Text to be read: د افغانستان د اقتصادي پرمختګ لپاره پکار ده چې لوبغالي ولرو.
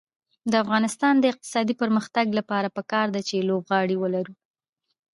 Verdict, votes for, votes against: rejected, 0, 2